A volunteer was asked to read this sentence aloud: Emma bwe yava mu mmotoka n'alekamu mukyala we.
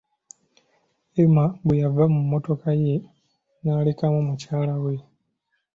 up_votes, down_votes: 3, 0